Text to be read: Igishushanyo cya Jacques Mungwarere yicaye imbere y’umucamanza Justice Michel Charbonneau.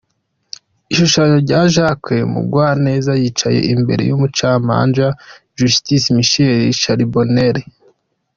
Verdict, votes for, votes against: rejected, 0, 2